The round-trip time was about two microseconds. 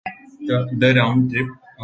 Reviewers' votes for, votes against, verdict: 0, 2, rejected